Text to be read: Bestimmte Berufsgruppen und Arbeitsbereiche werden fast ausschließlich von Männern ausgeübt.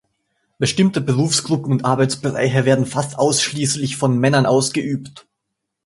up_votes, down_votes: 2, 0